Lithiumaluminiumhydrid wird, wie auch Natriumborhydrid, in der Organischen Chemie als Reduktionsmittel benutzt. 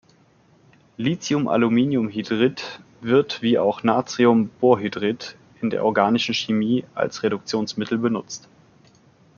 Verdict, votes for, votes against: accepted, 2, 0